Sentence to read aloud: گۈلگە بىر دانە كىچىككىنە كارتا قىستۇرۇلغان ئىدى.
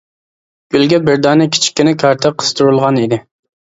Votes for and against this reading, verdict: 2, 0, accepted